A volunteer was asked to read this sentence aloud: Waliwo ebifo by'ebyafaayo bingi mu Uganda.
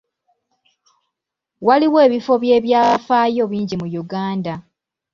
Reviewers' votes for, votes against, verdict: 2, 0, accepted